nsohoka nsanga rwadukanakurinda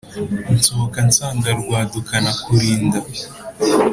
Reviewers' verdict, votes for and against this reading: accepted, 2, 0